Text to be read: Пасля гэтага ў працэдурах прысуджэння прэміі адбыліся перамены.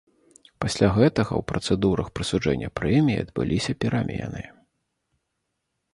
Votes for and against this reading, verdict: 2, 0, accepted